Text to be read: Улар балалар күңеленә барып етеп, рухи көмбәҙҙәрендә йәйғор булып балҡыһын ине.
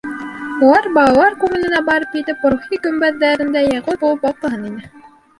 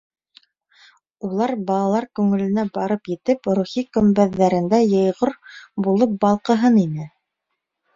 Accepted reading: second